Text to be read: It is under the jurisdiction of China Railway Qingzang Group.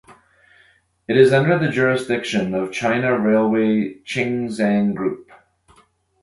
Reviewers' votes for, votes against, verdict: 0, 2, rejected